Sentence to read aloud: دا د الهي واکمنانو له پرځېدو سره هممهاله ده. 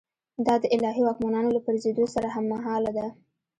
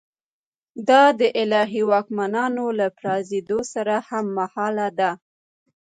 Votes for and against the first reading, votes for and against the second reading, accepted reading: 1, 2, 2, 0, second